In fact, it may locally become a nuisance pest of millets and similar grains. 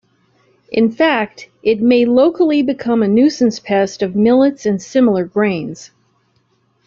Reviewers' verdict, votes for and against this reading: accepted, 2, 0